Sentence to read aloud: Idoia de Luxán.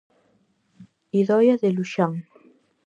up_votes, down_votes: 4, 0